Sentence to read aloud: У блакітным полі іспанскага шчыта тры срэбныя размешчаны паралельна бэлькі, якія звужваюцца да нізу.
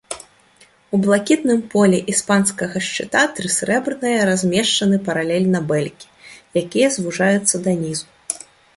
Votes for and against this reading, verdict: 0, 2, rejected